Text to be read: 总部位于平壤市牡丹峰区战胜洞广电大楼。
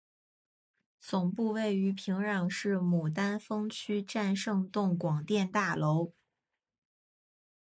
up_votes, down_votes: 2, 0